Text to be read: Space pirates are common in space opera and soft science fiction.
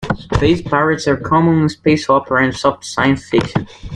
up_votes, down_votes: 2, 0